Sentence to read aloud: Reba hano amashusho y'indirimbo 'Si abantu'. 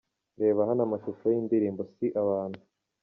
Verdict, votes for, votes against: accepted, 2, 0